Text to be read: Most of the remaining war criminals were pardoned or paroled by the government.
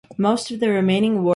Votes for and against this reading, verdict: 0, 2, rejected